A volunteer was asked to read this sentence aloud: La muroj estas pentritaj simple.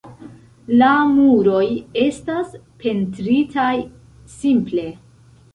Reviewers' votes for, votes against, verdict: 1, 2, rejected